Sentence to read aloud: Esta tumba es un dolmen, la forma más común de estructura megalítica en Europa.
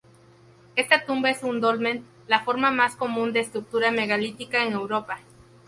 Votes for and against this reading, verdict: 4, 0, accepted